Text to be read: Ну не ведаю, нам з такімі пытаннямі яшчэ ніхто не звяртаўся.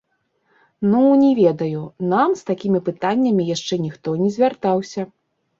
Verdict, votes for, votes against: rejected, 1, 2